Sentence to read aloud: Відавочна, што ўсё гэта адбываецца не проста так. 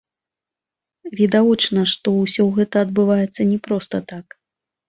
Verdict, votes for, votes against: rejected, 1, 2